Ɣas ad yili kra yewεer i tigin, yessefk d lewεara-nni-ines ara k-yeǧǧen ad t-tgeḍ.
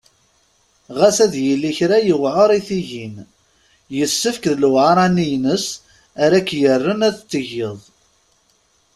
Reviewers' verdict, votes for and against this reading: rejected, 0, 2